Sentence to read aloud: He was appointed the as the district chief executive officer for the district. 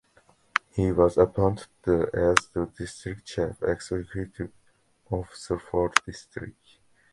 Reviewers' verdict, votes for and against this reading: rejected, 0, 2